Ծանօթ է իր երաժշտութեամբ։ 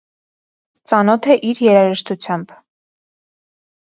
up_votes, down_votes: 0, 2